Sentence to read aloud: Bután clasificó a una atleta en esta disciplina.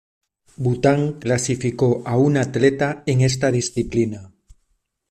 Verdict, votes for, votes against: accepted, 2, 0